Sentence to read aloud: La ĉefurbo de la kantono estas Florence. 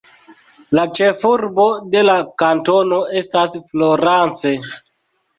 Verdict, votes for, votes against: rejected, 1, 2